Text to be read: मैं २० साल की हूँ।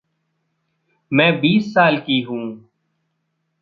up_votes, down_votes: 0, 2